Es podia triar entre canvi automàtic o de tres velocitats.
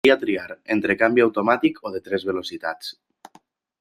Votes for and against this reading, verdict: 0, 2, rejected